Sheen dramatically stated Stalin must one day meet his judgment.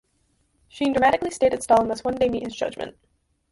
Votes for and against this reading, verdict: 0, 4, rejected